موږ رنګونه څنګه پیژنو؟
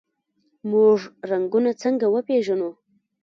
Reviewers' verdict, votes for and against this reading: rejected, 1, 2